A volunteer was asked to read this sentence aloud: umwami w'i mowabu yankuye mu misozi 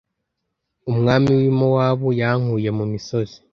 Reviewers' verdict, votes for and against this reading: accepted, 2, 0